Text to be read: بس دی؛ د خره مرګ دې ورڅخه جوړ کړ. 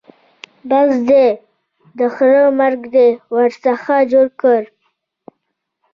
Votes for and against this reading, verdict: 0, 2, rejected